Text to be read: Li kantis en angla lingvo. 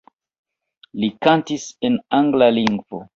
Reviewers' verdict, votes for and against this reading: accepted, 2, 1